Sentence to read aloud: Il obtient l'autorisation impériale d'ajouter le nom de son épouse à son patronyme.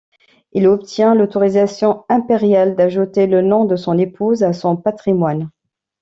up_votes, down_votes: 0, 2